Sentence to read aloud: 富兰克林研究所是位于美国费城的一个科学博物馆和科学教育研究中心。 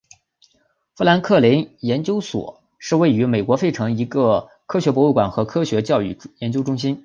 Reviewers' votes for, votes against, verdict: 1, 4, rejected